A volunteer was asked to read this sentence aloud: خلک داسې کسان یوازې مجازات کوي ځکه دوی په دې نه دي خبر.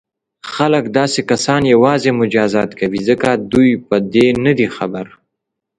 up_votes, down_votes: 2, 0